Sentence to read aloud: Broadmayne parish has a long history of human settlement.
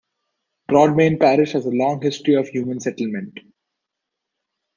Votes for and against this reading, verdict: 2, 0, accepted